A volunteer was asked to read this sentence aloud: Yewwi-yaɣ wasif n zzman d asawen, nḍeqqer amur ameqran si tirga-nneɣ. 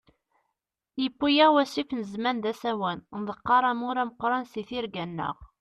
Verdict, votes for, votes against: accepted, 2, 0